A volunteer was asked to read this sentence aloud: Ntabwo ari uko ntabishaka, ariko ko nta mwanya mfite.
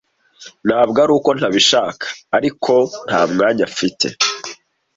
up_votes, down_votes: 2, 0